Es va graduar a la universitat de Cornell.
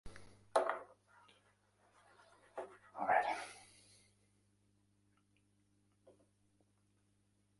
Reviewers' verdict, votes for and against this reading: rejected, 0, 2